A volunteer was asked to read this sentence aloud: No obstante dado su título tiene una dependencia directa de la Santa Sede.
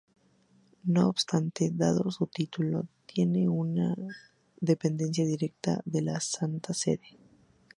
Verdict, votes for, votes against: accepted, 2, 0